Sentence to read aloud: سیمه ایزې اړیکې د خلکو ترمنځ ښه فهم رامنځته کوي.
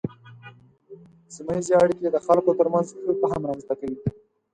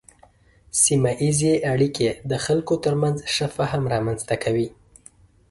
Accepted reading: second